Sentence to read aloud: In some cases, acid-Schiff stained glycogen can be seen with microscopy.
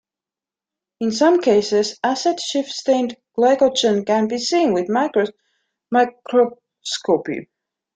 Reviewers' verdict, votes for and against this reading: rejected, 0, 3